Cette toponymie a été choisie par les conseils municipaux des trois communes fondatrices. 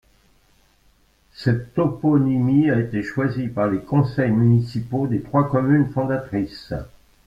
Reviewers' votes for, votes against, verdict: 2, 0, accepted